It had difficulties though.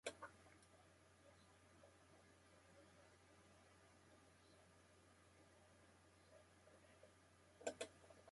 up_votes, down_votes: 0, 2